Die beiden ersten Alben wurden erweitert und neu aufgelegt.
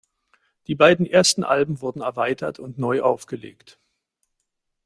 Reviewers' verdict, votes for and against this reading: accepted, 2, 0